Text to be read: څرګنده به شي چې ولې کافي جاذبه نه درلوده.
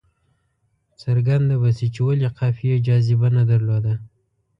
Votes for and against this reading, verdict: 1, 2, rejected